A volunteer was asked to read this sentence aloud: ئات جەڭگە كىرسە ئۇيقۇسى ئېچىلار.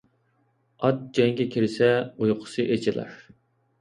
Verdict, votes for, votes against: accepted, 2, 0